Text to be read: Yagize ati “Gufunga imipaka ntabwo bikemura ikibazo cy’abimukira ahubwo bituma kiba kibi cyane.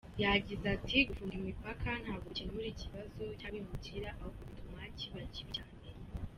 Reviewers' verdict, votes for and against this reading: rejected, 1, 2